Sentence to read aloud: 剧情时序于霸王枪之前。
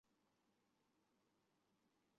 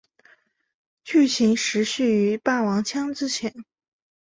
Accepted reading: second